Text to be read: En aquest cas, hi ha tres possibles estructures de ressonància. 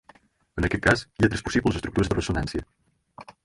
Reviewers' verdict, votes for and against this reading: accepted, 4, 0